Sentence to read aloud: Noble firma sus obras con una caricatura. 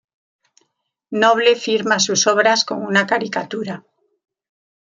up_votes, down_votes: 2, 0